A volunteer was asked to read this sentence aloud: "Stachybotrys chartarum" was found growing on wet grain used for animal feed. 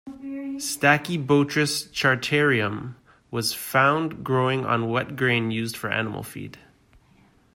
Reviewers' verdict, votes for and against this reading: rejected, 1, 2